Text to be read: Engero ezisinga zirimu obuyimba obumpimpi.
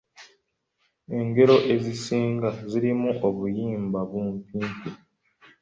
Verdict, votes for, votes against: rejected, 0, 2